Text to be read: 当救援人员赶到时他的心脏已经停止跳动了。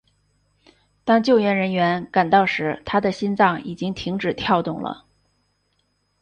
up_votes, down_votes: 3, 0